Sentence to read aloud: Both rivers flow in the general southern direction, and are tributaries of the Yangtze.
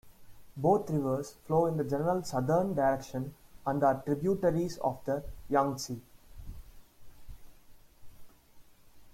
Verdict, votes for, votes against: rejected, 1, 2